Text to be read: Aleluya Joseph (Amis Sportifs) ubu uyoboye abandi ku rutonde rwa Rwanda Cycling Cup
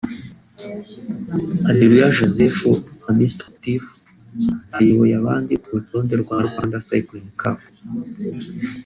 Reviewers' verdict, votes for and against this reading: rejected, 1, 2